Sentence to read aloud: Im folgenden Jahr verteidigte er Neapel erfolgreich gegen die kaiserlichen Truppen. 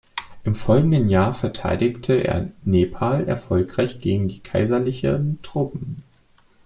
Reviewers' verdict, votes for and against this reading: rejected, 0, 2